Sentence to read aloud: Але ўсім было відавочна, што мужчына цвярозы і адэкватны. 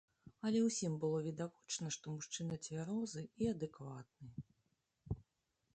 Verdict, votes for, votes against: accepted, 2, 1